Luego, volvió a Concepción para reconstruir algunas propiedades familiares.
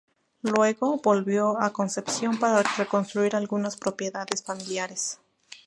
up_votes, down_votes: 2, 0